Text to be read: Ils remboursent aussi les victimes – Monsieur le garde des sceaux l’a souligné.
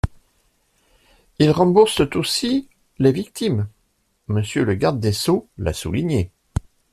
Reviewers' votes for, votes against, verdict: 2, 0, accepted